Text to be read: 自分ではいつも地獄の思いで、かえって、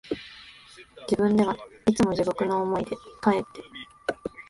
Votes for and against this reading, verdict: 1, 2, rejected